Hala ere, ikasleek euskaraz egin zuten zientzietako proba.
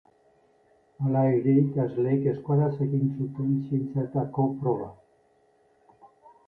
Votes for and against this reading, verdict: 1, 2, rejected